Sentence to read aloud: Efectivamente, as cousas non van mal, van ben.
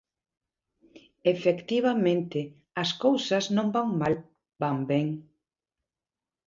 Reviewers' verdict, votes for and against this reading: accepted, 2, 0